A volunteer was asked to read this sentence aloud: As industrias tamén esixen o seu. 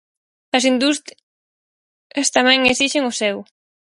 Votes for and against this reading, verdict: 0, 6, rejected